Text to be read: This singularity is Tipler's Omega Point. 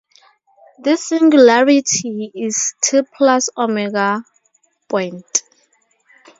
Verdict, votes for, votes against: rejected, 2, 2